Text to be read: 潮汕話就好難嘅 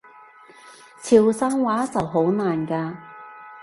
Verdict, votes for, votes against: rejected, 0, 2